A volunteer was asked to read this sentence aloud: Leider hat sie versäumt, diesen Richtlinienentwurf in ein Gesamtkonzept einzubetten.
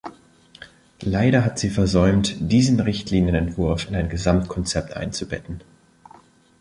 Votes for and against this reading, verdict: 2, 0, accepted